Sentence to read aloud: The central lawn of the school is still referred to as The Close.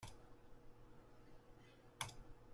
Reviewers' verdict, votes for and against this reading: rejected, 0, 2